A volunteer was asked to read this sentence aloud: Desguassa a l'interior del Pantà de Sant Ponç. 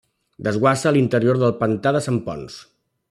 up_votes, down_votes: 2, 0